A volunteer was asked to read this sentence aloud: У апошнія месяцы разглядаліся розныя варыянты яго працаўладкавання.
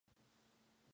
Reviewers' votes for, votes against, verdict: 0, 3, rejected